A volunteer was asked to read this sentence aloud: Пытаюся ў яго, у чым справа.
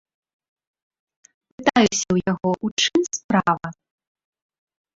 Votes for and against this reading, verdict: 0, 2, rejected